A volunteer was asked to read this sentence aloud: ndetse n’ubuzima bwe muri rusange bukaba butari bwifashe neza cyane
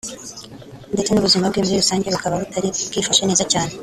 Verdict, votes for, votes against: rejected, 1, 2